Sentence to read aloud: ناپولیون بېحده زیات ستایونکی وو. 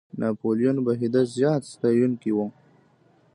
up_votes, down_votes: 1, 2